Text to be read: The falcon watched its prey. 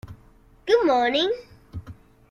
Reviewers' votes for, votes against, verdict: 0, 2, rejected